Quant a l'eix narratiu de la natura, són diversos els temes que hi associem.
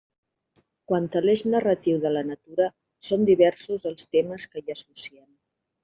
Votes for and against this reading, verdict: 0, 2, rejected